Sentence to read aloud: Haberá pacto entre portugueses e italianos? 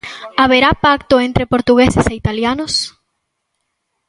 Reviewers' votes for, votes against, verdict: 2, 0, accepted